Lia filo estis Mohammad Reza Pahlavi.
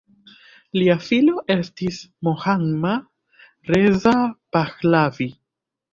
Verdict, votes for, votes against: accepted, 2, 0